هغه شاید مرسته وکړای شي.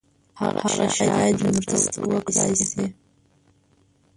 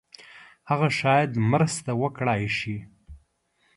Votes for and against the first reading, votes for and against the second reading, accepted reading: 0, 2, 2, 0, second